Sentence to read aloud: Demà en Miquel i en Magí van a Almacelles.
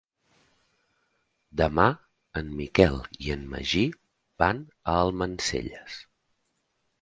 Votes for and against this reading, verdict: 1, 2, rejected